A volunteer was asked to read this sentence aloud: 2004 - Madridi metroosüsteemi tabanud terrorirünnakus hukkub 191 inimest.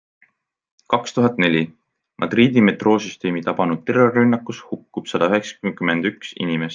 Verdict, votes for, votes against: rejected, 0, 2